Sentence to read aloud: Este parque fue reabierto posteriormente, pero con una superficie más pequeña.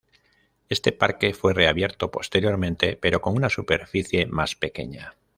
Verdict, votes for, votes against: accepted, 2, 1